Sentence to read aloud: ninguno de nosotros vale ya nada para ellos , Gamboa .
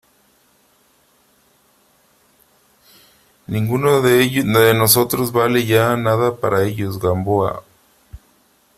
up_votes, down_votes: 0, 3